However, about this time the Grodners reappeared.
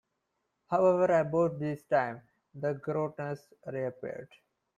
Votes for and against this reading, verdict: 2, 0, accepted